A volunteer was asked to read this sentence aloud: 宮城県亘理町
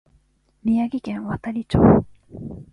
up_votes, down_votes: 2, 0